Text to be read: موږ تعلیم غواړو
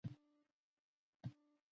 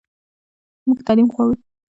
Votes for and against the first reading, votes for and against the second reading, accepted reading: 0, 2, 2, 0, second